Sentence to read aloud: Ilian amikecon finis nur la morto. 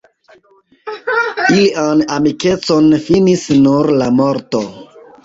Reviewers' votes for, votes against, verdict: 2, 0, accepted